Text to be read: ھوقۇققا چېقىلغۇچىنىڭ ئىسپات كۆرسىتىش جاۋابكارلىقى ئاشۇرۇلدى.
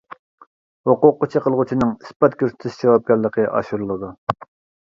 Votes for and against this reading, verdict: 0, 2, rejected